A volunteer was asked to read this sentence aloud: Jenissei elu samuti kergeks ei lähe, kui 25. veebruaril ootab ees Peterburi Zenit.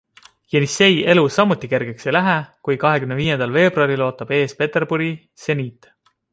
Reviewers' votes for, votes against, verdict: 0, 2, rejected